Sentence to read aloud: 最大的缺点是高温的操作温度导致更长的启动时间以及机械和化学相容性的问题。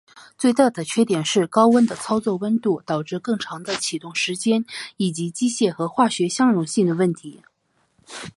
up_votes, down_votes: 1, 2